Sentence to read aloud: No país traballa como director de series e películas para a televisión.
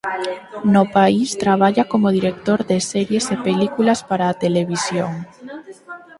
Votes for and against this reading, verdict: 4, 0, accepted